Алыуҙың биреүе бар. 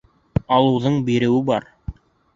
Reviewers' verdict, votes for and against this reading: accepted, 4, 0